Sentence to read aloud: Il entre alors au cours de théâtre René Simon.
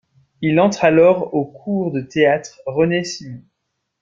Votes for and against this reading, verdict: 1, 2, rejected